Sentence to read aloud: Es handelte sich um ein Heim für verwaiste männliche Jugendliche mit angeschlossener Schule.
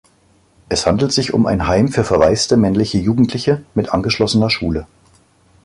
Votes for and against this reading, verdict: 0, 2, rejected